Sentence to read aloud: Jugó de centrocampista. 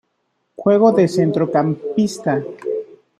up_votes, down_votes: 1, 2